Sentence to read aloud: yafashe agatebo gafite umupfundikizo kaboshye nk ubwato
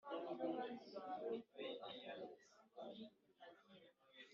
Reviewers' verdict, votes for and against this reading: rejected, 1, 2